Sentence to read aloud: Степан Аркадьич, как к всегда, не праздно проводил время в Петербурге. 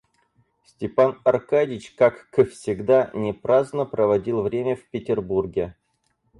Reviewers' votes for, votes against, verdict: 0, 4, rejected